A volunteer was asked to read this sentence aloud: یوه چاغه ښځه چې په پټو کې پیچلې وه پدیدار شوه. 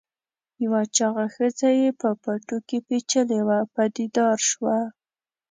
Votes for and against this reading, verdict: 1, 2, rejected